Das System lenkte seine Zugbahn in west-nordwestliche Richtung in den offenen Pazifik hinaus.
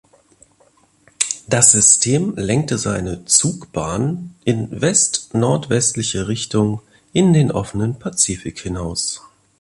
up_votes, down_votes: 2, 0